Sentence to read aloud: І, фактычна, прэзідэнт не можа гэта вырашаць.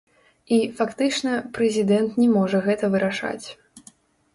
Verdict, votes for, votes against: rejected, 0, 2